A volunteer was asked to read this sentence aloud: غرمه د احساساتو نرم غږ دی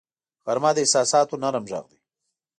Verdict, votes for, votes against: rejected, 1, 2